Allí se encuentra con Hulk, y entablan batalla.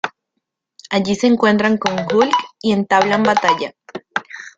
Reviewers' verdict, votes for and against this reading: rejected, 1, 2